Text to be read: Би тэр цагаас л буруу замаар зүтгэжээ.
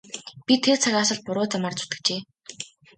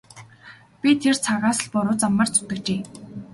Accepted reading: second